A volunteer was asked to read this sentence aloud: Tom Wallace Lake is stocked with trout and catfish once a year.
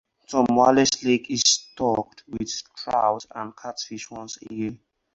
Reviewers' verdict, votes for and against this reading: rejected, 2, 2